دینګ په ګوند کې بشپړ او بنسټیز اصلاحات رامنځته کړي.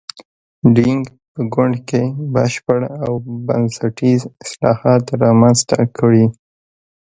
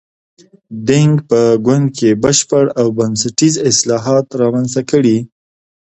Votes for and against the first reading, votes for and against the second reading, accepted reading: 1, 2, 2, 0, second